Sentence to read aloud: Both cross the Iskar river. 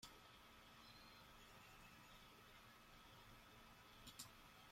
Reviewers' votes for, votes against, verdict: 0, 2, rejected